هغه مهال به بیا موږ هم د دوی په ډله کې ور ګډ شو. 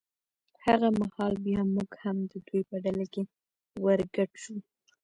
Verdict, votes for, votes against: rejected, 1, 2